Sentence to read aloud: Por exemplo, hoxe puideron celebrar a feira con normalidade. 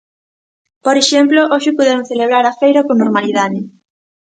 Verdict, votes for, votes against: accepted, 2, 0